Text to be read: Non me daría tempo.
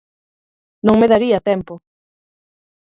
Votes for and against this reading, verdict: 4, 0, accepted